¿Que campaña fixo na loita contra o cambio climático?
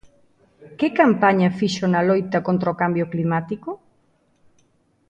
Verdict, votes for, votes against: accepted, 2, 0